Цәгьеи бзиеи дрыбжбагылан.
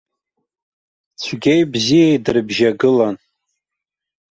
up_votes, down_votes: 1, 2